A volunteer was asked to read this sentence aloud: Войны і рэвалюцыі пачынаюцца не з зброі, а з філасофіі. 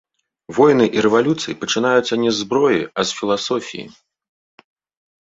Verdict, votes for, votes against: accepted, 2, 0